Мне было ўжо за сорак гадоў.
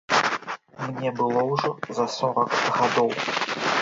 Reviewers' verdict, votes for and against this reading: rejected, 0, 2